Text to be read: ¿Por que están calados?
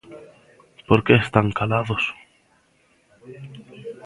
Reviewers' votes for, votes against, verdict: 1, 2, rejected